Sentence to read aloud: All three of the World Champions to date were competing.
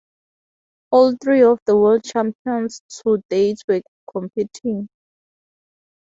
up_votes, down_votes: 4, 0